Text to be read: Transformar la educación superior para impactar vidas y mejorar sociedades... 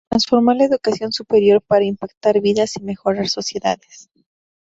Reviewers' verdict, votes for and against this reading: accepted, 2, 0